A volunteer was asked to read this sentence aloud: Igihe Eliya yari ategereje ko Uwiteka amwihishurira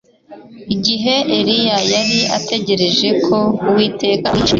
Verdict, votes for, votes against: rejected, 2, 3